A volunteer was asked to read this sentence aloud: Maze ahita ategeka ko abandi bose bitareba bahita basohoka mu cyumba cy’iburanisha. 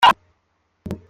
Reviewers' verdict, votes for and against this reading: rejected, 0, 2